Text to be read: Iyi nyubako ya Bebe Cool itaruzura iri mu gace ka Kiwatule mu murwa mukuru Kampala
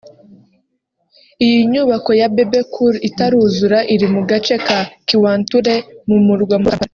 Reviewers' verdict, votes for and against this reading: rejected, 1, 2